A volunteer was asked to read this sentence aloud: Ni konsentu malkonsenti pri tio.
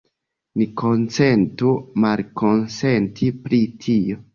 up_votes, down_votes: 2, 1